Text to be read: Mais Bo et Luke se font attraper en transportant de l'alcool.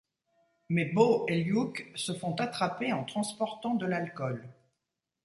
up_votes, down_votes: 0, 2